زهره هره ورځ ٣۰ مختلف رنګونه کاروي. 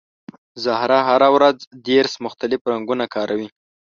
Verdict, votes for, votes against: rejected, 0, 2